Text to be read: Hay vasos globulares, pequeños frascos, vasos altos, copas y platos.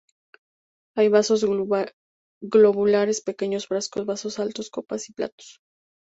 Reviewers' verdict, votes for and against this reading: rejected, 2, 6